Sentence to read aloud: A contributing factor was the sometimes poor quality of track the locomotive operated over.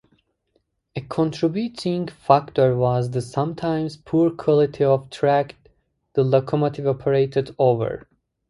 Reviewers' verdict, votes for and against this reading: rejected, 0, 2